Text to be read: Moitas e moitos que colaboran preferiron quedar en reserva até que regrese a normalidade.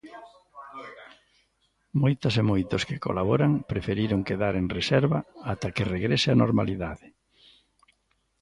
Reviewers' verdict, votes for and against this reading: rejected, 1, 2